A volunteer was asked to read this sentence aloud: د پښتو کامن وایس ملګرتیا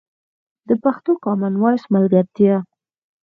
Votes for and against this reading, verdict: 4, 0, accepted